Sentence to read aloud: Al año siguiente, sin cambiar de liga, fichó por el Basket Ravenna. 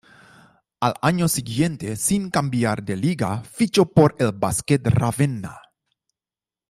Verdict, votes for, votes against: rejected, 1, 2